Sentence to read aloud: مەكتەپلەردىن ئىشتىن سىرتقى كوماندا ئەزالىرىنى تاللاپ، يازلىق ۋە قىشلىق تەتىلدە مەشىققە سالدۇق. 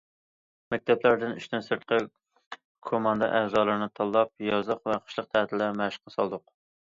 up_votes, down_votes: 2, 0